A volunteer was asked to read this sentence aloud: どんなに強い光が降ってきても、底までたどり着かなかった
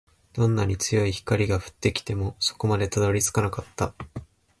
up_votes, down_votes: 2, 0